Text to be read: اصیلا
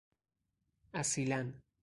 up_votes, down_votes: 0, 2